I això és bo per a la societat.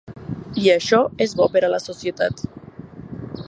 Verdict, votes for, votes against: accepted, 3, 0